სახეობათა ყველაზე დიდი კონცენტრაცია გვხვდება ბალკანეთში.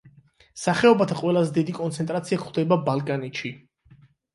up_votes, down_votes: 8, 0